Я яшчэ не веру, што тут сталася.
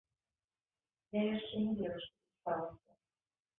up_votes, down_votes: 0, 2